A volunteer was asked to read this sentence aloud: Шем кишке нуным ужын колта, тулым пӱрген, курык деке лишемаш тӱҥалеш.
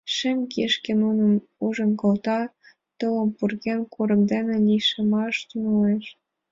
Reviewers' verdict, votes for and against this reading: accepted, 3, 2